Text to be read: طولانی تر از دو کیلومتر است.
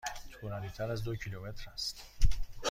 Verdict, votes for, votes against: accepted, 2, 0